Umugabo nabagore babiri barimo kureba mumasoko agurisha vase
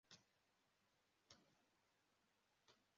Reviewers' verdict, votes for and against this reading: rejected, 0, 2